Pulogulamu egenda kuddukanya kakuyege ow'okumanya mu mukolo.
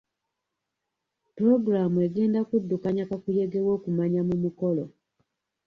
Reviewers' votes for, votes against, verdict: 2, 0, accepted